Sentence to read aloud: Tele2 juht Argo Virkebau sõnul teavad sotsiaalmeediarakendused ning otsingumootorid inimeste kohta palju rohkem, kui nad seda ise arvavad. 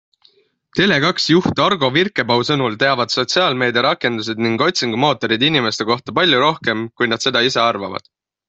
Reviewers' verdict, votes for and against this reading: rejected, 0, 2